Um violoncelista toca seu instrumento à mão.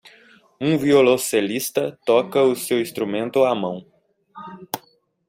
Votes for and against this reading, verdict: 1, 2, rejected